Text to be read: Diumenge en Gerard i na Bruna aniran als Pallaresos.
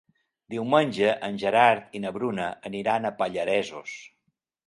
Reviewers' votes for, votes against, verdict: 0, 2, rejected